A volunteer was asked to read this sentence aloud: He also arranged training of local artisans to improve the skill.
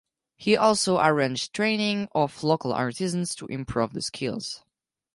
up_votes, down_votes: 0, 4